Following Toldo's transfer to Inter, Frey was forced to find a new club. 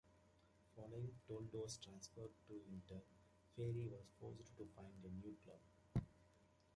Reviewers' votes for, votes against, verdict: 2, 1, accepted